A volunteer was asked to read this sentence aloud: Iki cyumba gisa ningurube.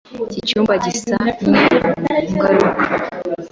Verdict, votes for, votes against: rejected, 2, 3